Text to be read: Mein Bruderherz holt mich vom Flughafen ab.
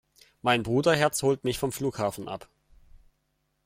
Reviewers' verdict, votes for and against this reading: accepted, 2, 0